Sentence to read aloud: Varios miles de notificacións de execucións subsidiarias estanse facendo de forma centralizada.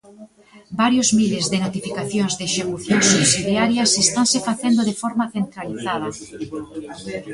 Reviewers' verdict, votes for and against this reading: rejected, 0, 2